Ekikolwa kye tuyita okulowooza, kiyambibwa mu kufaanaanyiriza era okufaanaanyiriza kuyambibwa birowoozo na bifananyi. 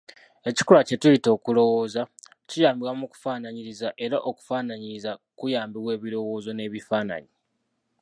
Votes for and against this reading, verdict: 0, 2, rejected